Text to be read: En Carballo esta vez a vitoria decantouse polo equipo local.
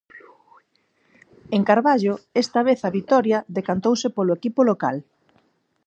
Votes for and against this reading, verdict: 4, 0, accepted